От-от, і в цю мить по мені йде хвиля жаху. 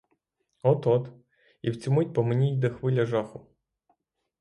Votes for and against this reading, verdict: 6, 0, accepted